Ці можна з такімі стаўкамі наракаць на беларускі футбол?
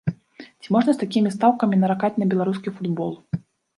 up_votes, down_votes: 2, 1